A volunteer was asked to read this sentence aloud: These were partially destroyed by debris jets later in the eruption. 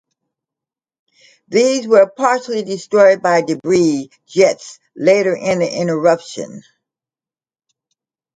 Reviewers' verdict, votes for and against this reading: rejected, 0, 2